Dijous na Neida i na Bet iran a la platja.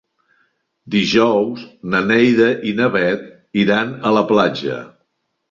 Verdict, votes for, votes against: accepted, 3, 0